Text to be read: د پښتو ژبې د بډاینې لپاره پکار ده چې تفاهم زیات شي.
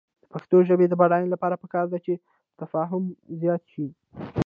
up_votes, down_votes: 2, 0